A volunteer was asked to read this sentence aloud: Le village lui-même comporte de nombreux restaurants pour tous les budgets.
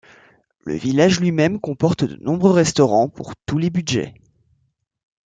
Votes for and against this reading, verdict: 2, 0, accepted